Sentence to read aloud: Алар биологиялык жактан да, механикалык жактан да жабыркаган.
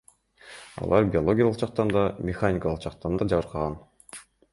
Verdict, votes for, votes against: rejected, 1, 2